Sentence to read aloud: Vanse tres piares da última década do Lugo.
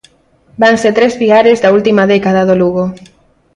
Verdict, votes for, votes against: accepted, 4, 0